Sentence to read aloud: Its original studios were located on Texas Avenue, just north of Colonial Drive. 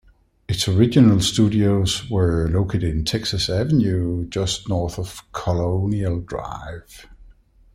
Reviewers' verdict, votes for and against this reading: accepted, 2, 0